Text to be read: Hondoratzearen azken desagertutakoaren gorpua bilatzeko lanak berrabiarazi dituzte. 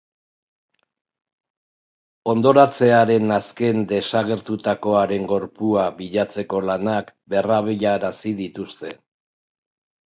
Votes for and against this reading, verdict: 2, 0, accepted